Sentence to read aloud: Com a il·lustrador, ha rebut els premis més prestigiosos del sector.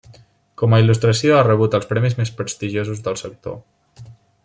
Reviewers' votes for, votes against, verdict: 0, 2, rejected